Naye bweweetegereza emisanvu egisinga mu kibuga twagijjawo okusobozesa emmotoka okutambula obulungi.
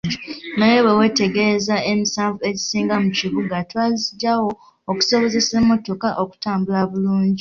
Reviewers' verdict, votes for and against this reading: rejected, 0, 2